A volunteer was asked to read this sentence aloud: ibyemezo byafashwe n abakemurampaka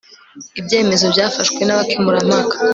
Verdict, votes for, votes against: accepted, 2, 0